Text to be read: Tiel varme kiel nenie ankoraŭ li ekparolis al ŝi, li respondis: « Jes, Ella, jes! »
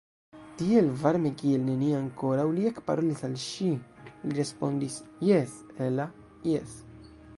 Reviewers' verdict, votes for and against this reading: rejected, 0, 2